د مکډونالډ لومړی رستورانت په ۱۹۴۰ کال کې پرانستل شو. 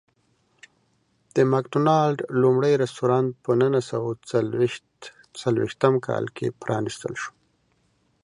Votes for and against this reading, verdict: 0, 2, rejected